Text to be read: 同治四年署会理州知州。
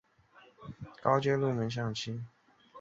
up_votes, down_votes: 0, 2